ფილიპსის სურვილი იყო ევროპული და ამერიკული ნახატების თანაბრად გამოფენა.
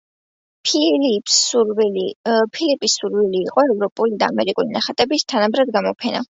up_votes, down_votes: 0, 2